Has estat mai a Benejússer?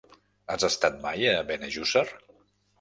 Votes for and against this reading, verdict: 3, 0, accepted